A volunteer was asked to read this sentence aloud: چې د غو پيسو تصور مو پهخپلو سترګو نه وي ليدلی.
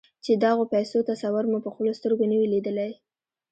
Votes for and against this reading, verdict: 0, 2, rejected